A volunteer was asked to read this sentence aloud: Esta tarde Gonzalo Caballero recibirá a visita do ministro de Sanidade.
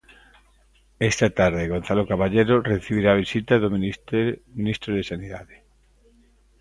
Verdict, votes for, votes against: rejected, 0, 2